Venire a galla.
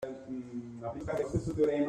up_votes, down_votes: 0, 2